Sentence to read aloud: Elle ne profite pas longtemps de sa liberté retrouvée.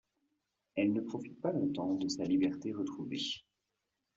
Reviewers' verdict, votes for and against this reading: accepted, 2, 0